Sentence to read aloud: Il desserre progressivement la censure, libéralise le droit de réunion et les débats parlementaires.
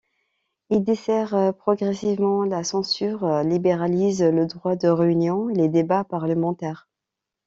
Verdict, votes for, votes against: rejected, 1, 2